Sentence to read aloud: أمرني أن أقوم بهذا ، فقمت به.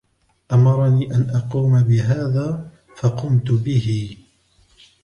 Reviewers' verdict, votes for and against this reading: rejected, 1, 2